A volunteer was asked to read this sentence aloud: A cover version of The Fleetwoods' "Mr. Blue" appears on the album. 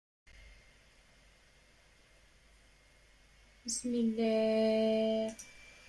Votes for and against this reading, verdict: 0, 2, rejected